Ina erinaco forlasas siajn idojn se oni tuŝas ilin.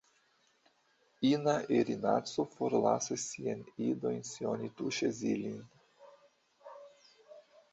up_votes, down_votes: 0, 2